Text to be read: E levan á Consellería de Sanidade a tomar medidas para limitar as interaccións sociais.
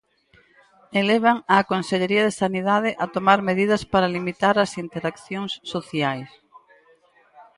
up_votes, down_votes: 2, 4